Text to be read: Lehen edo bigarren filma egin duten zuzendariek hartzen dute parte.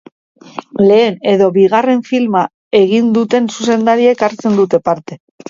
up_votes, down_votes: 2, 0